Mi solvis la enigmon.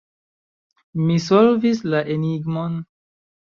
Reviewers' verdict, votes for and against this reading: accepted, 2, 0